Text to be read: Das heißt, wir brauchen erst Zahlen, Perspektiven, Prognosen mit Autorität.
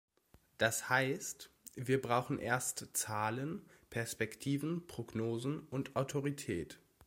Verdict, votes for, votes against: rejected, 0, 2